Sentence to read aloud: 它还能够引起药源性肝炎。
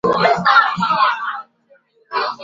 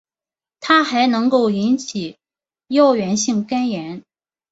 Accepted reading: second